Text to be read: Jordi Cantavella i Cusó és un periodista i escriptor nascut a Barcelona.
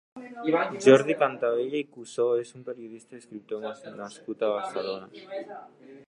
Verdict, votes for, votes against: rejected, 1, 2